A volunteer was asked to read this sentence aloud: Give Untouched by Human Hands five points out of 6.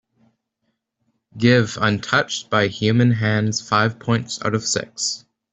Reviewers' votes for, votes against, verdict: 0, 2, rejected